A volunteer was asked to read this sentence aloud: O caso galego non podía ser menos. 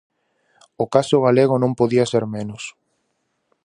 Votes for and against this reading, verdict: 4, 0, accepted